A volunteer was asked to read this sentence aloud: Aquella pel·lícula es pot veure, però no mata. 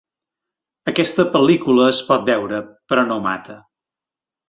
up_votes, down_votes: 2, 5